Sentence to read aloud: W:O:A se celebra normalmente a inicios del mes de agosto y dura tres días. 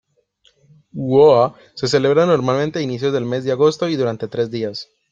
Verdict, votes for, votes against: rejected, 0, 2